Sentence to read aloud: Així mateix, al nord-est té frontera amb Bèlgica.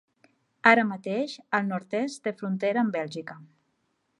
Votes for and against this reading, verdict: 1, 2, rejected